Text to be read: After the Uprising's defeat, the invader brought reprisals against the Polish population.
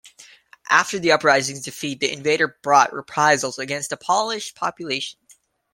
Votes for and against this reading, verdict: 0, 2, rejected